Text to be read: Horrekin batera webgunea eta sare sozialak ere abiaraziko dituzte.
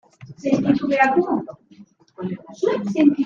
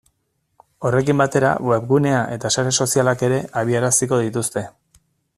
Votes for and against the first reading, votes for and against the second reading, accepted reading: 0, 2, 2, 0, second